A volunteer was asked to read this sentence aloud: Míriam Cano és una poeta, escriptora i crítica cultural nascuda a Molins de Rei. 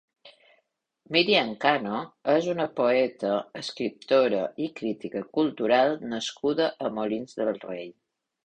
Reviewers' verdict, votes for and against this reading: rejected, 1, 2